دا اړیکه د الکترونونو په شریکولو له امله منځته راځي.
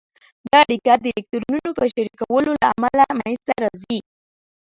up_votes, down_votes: 1, 2